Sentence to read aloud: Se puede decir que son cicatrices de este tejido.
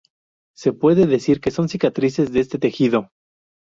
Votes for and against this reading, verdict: 2, 2, rejected